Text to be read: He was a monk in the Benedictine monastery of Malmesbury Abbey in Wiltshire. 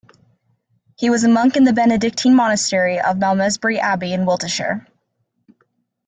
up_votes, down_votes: 1, 2